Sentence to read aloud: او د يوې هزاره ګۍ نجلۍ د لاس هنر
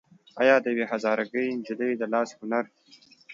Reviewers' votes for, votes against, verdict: 3, 1, accepted